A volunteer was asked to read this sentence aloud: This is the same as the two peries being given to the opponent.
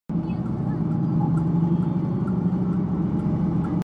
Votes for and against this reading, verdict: 0, 2, rejected